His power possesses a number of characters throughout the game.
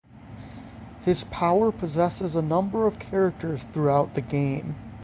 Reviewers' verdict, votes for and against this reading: accepted, 6, 0